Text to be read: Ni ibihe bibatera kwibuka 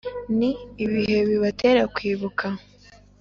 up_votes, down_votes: 3, 0